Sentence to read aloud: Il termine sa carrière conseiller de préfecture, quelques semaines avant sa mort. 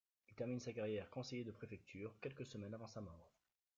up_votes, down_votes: 1, 2